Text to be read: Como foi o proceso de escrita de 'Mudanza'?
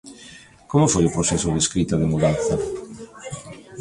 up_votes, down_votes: 2, 1